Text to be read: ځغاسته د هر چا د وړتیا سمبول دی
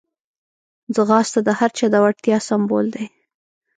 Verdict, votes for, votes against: accepted, 2, 0